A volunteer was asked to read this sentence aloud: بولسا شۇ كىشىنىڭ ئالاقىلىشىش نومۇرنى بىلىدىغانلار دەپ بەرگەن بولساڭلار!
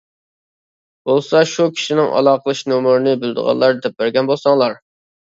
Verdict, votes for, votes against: accepted, 2, 0